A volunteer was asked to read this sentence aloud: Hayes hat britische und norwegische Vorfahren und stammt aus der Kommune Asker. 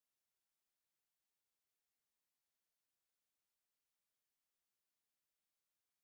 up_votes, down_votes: 0, 3